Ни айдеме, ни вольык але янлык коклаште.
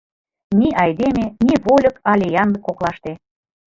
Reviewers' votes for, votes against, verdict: 2, 0, accepted